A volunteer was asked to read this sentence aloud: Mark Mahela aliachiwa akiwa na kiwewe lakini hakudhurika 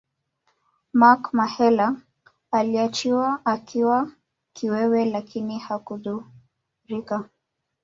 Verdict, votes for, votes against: rejected, 1, 2